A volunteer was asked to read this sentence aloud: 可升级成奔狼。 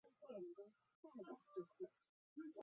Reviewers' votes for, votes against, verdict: 4, 3, accepted